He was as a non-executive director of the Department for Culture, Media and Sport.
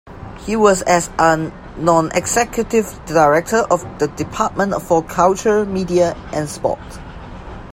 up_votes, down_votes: 2, 1